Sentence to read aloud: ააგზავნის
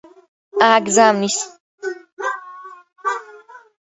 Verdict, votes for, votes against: rejected, 0, 2